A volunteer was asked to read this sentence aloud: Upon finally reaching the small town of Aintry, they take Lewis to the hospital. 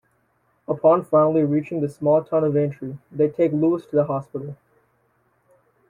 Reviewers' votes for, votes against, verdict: 2, 0, accepted